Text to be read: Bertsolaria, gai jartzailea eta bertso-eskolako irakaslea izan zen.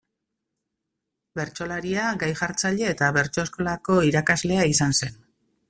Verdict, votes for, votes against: accepted, 2, 0